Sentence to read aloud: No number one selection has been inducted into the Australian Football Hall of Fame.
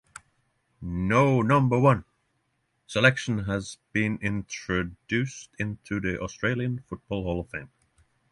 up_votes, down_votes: 0, 6